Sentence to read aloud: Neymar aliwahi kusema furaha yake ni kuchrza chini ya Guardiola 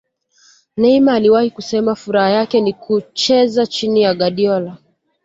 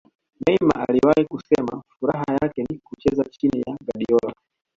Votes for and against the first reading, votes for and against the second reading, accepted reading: 2, 0, 1, 2, first